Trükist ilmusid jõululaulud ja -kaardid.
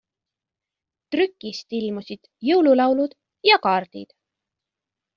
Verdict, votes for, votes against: accepted, 2, 0